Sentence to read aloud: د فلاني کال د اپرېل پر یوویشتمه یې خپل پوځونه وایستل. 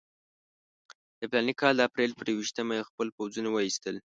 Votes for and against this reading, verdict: 2, 0, accepted